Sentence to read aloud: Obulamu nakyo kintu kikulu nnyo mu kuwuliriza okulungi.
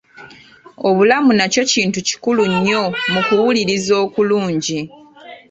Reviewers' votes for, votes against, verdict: 2, 0, accepted